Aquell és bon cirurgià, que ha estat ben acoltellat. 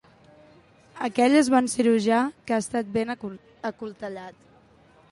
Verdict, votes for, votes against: rejected, 1, 2